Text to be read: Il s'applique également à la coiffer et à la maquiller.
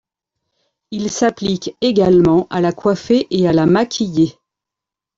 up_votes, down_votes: 1, 2